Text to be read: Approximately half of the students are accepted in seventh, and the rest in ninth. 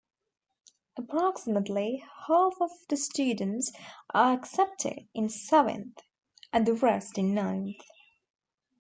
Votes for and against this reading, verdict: 2, 0, accepted